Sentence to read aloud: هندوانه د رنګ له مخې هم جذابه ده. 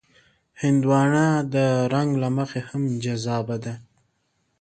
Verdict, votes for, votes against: accepted, 2, 0